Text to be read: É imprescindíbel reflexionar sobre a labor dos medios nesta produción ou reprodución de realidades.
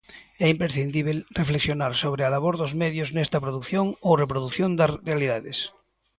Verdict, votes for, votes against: rejected, 0, 2